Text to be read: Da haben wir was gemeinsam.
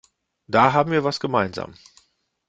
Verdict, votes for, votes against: accepted, 2, 0